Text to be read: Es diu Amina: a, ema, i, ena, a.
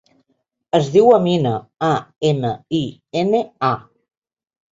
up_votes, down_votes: 0, 2